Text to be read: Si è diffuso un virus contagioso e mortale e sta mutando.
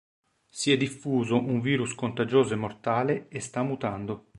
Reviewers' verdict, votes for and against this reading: accepted, 4, 0